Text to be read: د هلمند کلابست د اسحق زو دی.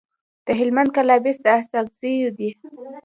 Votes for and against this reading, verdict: 1, 2, rejected